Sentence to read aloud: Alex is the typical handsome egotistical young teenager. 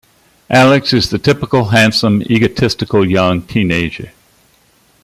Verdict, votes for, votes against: accepted, 2, 0